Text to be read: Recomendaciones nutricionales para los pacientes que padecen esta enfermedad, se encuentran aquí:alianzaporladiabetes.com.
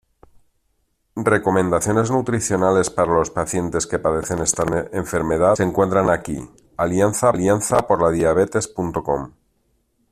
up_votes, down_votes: 0, 3